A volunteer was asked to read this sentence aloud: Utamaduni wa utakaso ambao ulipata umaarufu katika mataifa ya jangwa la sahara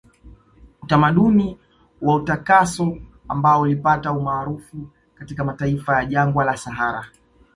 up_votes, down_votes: 2, 0